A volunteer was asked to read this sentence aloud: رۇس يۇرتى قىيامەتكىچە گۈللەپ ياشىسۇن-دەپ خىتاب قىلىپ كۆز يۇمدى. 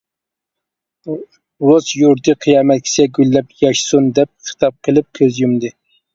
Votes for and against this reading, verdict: 1, 2, rejected